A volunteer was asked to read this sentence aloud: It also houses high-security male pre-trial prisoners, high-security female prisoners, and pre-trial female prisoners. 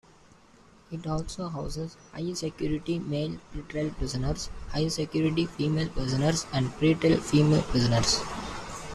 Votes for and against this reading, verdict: 2, 0, accepted